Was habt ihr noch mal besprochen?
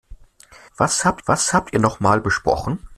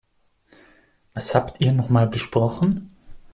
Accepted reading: second